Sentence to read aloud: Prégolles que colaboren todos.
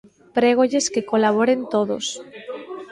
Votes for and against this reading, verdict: 1, 2, rejected